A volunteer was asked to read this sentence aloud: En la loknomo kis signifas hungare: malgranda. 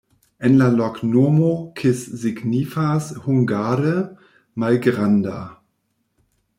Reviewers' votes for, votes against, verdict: 1, 2, rejected